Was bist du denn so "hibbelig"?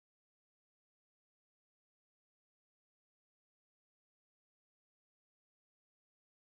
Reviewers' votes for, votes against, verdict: 0, 2, rejected